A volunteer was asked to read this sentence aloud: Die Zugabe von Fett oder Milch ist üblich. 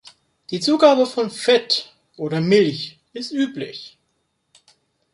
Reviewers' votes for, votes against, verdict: 3, 0, accepted